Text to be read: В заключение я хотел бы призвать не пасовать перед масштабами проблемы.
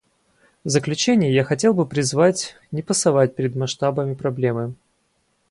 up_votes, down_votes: 2, 0